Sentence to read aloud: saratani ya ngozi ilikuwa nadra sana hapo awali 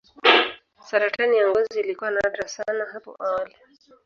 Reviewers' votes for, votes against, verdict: 1, 2, rejected